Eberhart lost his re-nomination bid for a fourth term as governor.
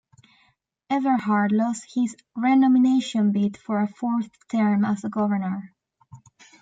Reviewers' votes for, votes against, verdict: 0, 2, rejected